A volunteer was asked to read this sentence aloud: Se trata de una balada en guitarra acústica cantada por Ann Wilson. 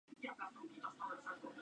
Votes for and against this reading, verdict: 2, 6, rejected